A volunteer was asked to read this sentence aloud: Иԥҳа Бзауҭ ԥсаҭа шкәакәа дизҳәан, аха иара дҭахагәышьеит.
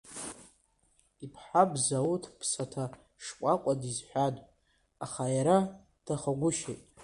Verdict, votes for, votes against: rejected, 0, 2